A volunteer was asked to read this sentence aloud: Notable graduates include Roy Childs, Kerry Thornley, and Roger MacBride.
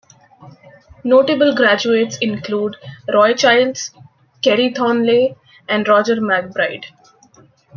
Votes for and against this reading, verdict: 3, 2, accepted